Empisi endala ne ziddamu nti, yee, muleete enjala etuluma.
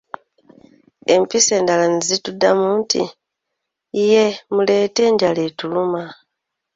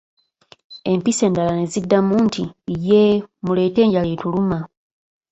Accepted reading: second